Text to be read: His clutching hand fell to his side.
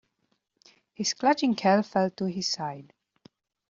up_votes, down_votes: 0, 2